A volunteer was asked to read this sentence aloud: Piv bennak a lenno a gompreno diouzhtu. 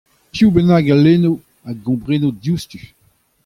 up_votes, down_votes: 2, 0